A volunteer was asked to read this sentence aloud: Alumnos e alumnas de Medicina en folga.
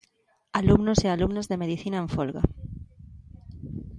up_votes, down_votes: 2, 0